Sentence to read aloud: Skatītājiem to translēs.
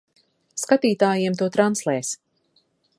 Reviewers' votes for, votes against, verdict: 2, 0, accepted